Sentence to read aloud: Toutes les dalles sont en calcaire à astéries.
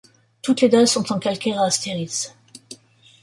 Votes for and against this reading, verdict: 1, 2, rejected